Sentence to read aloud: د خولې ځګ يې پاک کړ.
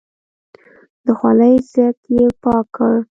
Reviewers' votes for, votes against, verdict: 0, 2, rejected